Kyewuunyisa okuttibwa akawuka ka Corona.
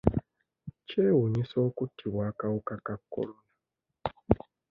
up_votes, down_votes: 0, 2